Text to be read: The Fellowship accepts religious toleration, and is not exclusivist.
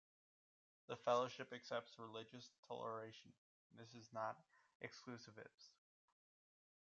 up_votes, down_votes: 0, 2